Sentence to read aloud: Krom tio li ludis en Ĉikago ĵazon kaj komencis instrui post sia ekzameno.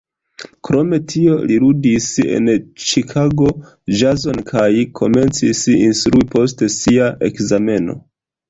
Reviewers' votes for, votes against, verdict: 1, 2, rejected